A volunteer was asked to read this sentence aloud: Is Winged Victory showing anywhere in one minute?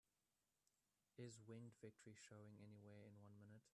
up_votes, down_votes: 1, 2